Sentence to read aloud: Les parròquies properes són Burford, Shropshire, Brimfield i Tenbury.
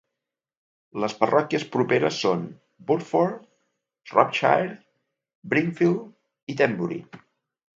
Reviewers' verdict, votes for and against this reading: accepted, 2, 0